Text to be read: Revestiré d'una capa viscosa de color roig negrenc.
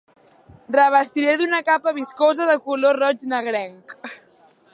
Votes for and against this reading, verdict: 2, 0, accepted